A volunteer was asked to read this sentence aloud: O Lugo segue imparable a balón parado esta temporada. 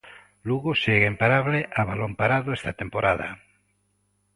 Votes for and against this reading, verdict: 2, 0, accepted